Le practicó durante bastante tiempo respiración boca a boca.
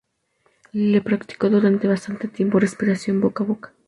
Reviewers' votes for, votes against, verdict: 2, 0, accepted